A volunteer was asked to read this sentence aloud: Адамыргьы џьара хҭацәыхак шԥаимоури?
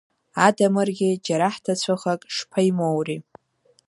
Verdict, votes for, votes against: accepted, 2, 0